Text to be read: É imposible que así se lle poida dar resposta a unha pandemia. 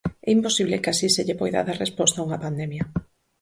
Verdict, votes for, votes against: accepted, 4, 0